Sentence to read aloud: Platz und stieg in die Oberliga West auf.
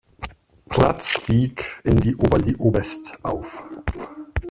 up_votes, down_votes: 0, 2